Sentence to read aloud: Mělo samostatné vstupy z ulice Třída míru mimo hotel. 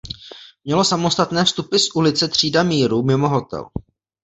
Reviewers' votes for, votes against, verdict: 0, 2, rejected